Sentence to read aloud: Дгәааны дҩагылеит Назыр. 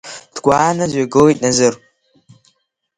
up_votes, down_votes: 4, 0